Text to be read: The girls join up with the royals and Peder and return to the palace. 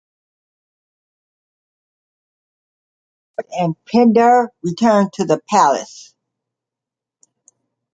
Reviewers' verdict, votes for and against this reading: rejected, 1, 2